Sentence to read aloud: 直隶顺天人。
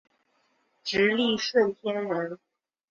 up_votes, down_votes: 2, 1